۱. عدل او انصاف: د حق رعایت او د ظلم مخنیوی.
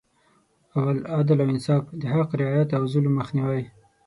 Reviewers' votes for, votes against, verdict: 0, 2, rejected